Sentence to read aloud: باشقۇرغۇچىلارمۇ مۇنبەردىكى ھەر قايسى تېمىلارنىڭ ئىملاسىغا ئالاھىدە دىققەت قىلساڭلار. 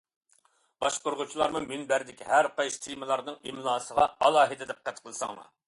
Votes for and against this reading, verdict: 2, 0, accepted